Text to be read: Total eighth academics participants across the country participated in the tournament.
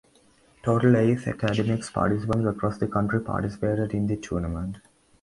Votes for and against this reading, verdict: 2, 0, accepted